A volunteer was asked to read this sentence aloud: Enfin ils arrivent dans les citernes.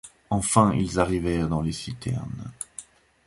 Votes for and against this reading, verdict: 0, 2, rejected